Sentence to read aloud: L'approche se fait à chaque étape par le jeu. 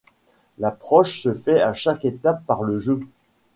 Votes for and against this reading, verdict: 2, 1, accepted